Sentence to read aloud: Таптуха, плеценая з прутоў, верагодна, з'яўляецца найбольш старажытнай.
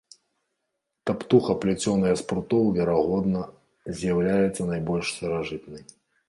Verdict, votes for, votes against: rejected, 1, 2